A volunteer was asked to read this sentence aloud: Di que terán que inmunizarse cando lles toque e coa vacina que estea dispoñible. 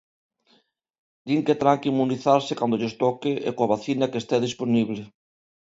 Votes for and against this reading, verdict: 1, 2, rejected